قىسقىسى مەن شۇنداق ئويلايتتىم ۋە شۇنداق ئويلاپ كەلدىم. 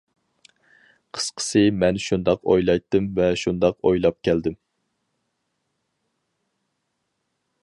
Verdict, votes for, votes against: accepted, 4, 0